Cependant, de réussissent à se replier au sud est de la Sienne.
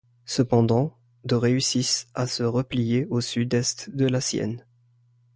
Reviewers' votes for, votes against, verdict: 2, 0, accepted